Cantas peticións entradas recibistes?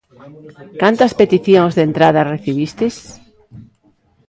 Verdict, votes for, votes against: rejected, 0, 2